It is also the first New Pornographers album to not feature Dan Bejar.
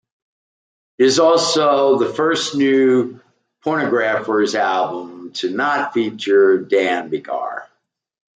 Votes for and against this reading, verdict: 1, 2, rejected